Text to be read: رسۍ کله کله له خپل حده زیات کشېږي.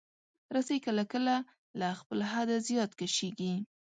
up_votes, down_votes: 2, 0